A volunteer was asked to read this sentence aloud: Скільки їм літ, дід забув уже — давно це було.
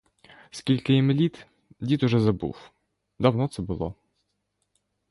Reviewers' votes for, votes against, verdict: 1, 2, rejected